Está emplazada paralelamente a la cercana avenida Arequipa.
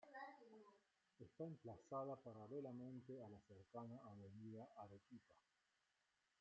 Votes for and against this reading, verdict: 0, 2, rejected